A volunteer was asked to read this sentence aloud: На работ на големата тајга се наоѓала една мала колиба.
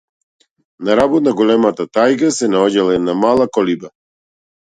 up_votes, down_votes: 2, 0